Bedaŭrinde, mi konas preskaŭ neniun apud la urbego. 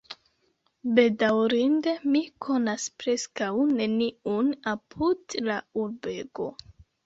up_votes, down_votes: 0, 2